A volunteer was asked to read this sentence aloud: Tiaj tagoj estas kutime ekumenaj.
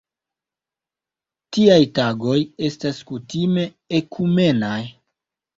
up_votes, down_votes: 2, 1